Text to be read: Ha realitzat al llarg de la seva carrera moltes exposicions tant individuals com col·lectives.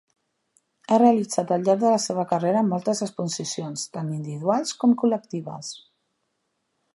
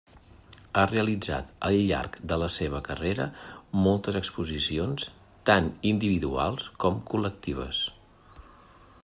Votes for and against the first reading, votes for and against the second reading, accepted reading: 0, 2, 2, 0, second